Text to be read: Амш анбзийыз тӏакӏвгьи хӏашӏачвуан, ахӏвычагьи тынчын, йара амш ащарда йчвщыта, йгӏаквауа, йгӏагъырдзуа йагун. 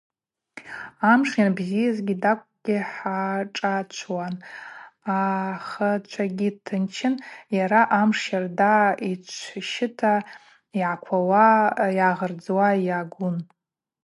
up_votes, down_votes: 0, 2